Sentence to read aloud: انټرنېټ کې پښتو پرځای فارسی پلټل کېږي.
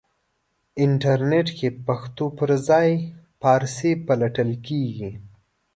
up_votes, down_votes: 2, 0